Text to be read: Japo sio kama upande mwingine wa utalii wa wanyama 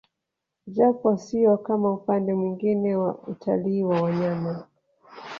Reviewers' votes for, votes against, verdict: 0, 2, rejected